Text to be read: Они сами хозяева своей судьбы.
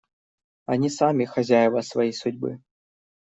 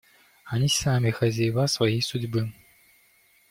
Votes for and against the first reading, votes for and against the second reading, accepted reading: 2, 0, 0, 2, first